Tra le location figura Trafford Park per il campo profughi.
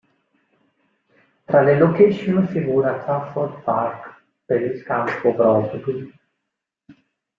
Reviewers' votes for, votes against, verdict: 0, 2, rejected